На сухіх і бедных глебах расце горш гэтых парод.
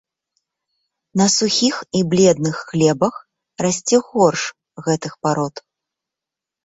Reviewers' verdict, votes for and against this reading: rejected, 0, 2